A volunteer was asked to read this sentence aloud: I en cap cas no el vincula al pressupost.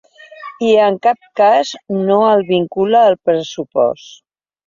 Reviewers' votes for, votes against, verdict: 3, 0, accepted